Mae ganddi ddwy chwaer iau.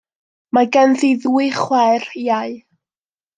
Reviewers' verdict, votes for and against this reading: accepted, 2, 0